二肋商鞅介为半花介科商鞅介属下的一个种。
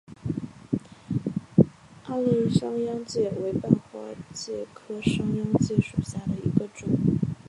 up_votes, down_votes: 2, 0